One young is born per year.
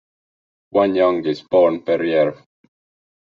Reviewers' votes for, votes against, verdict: 2, 0, accepted